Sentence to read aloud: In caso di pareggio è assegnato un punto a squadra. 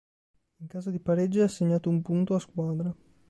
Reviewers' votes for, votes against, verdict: 2, 0, accepted